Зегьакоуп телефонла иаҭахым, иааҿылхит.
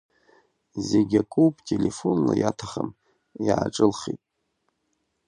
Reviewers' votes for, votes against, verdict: 2, 0, accepted